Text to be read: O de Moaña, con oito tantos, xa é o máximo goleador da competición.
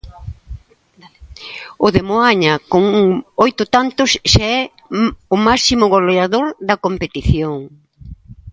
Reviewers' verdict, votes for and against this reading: rejected, 0, 2